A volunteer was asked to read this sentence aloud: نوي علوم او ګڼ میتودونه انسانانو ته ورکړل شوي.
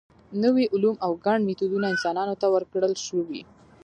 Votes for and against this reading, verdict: 0, 2, rejected